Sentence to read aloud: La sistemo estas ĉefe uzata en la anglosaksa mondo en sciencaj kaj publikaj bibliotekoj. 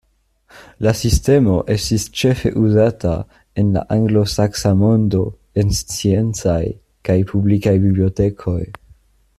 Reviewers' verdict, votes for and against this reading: rejected, 1, 2